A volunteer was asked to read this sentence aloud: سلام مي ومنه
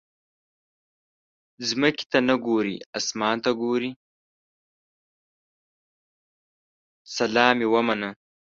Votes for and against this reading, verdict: 0, 2, rejected